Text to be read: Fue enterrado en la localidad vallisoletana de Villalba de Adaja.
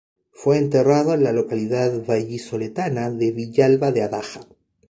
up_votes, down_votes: 2, 0